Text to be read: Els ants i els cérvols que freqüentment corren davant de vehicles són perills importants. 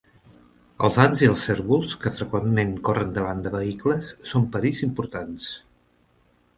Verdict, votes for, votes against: accepted, 3, 0